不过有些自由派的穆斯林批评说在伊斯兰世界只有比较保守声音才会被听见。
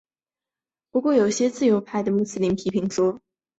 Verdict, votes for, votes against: rejected, 0, 4